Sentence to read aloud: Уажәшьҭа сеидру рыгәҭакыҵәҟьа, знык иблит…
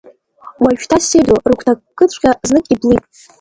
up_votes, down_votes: 0, 2